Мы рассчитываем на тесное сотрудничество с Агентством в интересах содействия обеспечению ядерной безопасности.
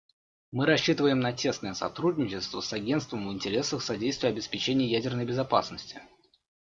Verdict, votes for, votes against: accepted, 2, 1